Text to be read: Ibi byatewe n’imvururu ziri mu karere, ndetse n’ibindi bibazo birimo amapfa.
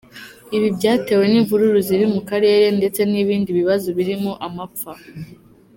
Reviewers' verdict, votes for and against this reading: accepted, 2, 0